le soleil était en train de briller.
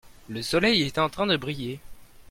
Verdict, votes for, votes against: accepted, 2, 1